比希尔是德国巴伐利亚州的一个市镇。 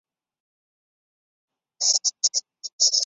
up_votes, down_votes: 1, 7